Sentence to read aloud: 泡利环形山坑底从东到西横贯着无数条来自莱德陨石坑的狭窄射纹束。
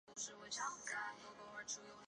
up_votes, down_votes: 0, 3